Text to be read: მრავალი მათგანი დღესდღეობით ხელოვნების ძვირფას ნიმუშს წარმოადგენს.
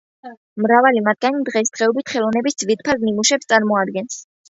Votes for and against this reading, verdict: 1, 2, rejected